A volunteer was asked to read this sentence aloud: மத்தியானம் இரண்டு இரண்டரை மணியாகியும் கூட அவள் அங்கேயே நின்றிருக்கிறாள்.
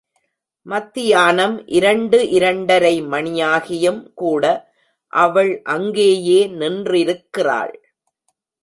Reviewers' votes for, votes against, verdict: 2, 0, accepted